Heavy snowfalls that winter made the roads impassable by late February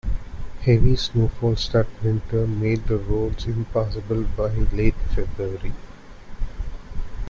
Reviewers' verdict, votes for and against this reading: rejected, 0, 2